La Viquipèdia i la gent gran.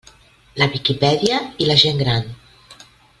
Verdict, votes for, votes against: accepted, 2, 0